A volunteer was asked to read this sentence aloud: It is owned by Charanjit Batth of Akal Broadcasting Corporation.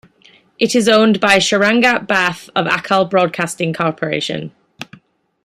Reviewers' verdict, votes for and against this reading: rejected, 1, 2